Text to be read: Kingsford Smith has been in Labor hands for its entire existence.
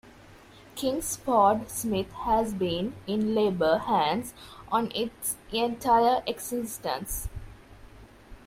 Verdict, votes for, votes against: rejected, 0, 2